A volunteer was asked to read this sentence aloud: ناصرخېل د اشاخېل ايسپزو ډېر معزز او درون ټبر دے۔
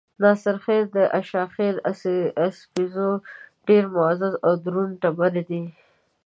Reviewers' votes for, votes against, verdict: 1, 2, rejected